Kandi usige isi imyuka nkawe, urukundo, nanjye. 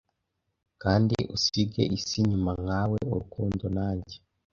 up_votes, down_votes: 2, 0